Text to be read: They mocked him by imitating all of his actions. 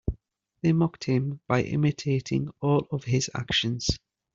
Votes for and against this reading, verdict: 2, 0, accepted